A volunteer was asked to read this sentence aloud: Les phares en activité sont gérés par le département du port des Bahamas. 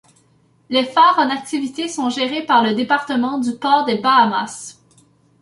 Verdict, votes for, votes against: accepted, 2, 0